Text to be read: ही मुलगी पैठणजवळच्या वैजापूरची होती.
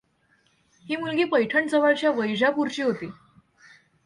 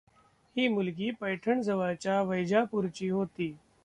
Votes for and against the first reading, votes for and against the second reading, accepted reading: 2, 0, 0, 2, first